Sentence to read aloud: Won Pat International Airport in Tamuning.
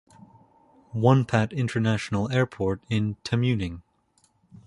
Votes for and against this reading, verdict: 2, 0, accepted